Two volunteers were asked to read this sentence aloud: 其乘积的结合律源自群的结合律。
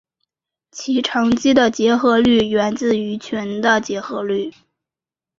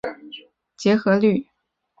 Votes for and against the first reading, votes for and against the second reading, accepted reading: 5, 0, 0, 2, first